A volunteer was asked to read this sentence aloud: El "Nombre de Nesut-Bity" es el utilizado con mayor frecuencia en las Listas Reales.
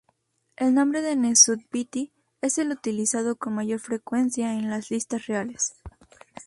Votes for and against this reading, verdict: 2, 0, accepted